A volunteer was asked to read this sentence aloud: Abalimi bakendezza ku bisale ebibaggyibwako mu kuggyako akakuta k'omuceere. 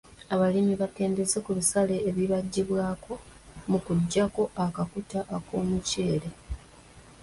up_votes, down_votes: 0, 2